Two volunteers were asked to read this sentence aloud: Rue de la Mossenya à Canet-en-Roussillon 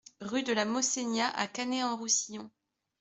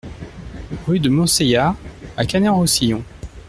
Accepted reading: first